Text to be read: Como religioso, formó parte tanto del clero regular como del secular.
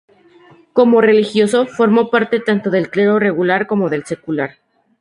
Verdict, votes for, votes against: accepted, 2, 0